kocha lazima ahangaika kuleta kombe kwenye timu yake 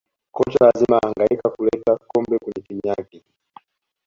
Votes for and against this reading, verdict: 2, 0, accepted